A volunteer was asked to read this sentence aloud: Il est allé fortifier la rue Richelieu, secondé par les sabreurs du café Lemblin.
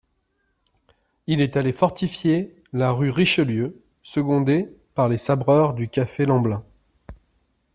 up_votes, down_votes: 2, 0